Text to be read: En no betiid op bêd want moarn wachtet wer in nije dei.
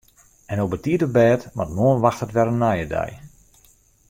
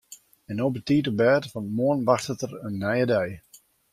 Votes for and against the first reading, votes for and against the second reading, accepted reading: 2, 0, 0, 2, first